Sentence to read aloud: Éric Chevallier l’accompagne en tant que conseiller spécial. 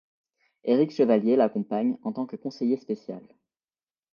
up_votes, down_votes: 2, 0